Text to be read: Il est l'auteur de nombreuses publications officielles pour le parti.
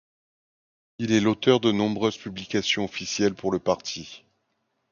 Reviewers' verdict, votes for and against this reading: accepted, 2, 0